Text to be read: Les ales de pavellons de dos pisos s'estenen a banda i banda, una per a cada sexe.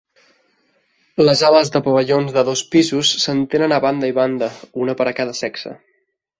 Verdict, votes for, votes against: rejected, 1, 2